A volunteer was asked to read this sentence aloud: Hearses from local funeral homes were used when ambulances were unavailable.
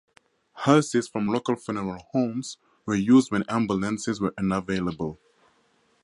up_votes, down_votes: 4, 0